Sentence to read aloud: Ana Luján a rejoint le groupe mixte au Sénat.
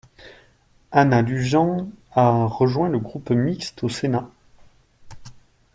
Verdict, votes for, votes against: accepted, 2, 0